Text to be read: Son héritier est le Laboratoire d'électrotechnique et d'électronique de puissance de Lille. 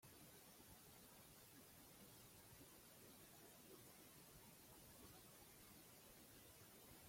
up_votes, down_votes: 0, 2